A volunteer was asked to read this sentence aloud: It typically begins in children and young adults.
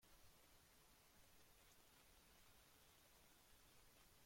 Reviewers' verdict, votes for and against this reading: rejected, 0, 2